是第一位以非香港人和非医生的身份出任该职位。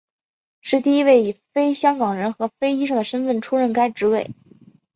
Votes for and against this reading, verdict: 2, 0, accepted